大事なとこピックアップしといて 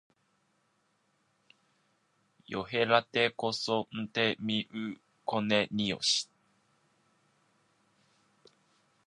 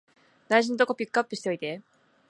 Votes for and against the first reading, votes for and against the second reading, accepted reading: 0, 2, 3, 0, second